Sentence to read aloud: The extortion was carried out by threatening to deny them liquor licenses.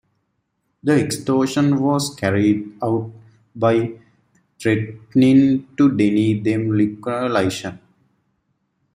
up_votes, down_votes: 1, 2